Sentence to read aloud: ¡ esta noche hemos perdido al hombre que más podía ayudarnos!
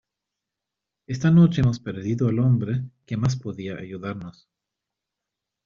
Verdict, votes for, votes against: rejected, 1, 2